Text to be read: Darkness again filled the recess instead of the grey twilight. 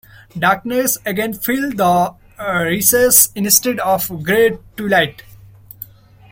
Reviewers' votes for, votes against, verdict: 2, 0, accepted